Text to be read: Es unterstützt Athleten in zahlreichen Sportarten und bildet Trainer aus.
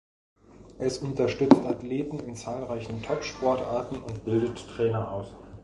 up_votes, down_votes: 0, 2